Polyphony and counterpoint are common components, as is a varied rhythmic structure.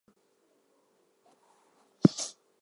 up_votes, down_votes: 0, 2